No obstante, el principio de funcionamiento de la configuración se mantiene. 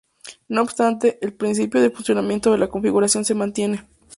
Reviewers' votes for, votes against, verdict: 4, 0, accepted